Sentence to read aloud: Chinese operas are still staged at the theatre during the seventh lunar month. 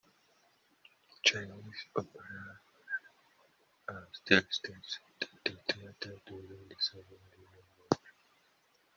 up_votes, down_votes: 0, 2